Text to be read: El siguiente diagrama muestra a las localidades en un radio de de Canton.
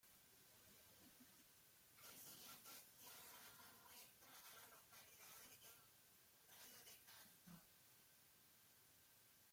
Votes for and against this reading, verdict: 0, 2, rejected